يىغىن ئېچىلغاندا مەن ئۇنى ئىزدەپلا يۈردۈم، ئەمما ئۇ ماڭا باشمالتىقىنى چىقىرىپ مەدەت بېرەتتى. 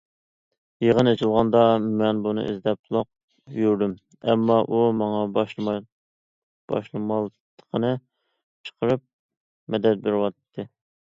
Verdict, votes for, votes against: rejected, 0, 2